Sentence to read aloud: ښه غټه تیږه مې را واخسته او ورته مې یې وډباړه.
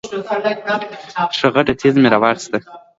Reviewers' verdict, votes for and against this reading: rejected, 1, 2